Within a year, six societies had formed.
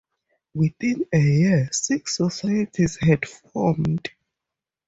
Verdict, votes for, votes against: accepted, 2, 0